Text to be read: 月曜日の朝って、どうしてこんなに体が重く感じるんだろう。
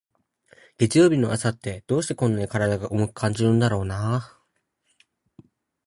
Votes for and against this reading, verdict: 0, 4, rejected